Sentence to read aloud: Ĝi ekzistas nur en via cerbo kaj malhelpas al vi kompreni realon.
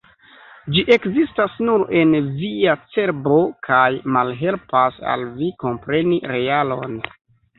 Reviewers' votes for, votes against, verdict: 2, 1, accepted